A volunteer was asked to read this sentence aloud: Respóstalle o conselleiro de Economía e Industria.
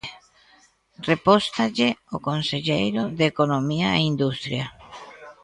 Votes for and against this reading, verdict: 0, 2, rejected